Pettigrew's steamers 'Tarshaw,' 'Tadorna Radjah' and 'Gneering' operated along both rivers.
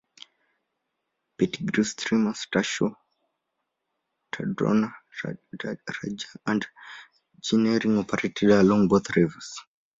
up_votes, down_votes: 0, 2